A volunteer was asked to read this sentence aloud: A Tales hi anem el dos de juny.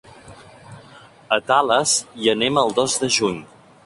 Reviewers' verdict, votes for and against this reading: accepted, 3, 0